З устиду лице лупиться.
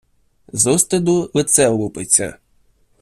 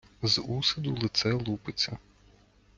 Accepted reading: first